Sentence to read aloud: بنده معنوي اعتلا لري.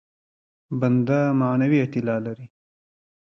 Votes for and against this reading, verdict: 2, 0, accepted